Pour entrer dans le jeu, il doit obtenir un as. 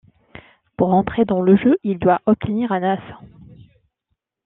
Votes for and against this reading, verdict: 2, 0, accepted